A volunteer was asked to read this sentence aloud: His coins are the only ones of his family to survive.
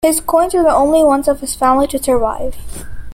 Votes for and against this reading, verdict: 2, 0, accepted